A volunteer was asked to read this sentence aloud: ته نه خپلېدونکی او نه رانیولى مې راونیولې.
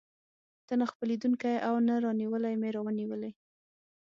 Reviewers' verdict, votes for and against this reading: accepted, 6, 0